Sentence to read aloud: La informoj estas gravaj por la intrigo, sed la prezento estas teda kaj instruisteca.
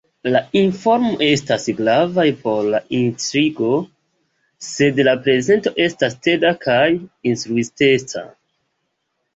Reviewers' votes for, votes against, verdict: 2, 1, accepted